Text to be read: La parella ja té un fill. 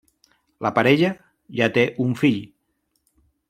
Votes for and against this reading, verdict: 3, 0, accepted